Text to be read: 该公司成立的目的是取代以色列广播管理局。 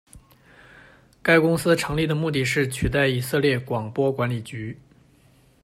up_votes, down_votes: 1, 2